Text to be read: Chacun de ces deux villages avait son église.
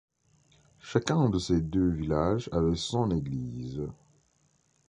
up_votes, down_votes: 2, 0